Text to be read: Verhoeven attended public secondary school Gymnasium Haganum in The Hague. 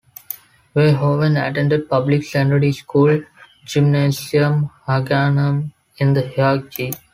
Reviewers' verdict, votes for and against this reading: accepted, 2, 1